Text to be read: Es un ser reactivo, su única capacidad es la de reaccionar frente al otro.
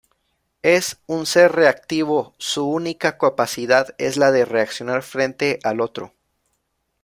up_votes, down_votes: 1, 2